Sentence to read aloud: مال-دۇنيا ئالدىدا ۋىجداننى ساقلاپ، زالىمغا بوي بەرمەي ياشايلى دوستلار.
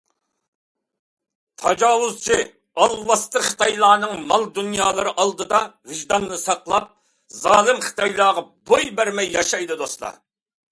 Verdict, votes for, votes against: rejected, 0, 2